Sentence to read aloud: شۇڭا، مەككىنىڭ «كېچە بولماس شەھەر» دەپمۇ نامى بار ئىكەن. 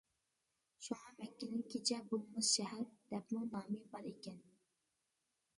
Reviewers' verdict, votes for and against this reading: rejected, 0, 4